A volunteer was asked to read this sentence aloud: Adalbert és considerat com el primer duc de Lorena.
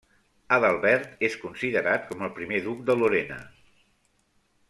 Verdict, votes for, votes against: accepted, 2, 0